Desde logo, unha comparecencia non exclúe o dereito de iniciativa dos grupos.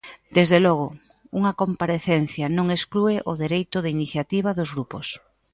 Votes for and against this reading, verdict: 2, 0, accepted